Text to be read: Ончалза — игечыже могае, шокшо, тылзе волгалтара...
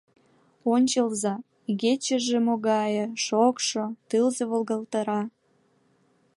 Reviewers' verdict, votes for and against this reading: accepted, 2, 0